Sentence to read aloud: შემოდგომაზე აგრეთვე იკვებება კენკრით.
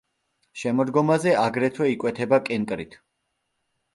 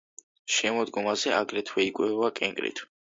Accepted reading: second